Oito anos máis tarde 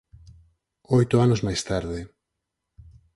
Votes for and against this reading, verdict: 4, 0, accepted